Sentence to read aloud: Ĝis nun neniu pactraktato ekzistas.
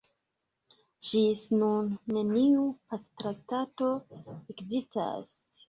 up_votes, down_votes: 0, 3